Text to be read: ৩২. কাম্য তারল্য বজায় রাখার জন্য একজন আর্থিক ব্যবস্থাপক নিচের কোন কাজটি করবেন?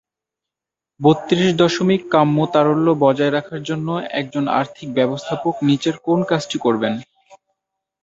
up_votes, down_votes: 0, 2